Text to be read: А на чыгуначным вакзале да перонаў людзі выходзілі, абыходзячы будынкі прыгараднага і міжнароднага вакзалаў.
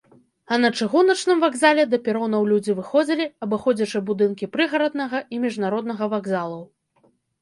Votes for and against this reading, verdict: 2, 0, accepted